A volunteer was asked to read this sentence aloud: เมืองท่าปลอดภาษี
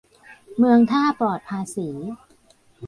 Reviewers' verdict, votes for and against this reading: rejected, 0, 2